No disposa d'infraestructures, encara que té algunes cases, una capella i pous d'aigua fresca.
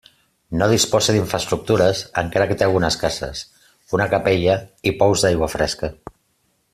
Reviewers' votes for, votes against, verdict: 2, 0, accepted